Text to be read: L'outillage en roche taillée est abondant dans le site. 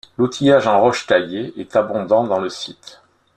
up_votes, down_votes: 0, 2